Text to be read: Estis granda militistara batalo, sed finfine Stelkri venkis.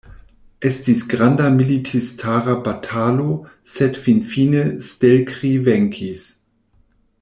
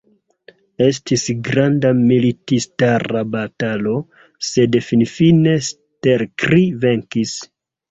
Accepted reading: first